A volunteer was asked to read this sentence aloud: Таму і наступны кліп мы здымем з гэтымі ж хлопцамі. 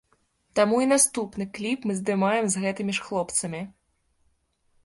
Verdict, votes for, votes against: accepted, 2, 1